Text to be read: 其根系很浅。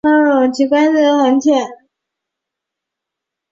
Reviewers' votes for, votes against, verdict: 4, 1, accepted